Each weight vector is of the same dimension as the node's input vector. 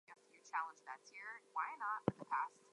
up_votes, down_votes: 2, 0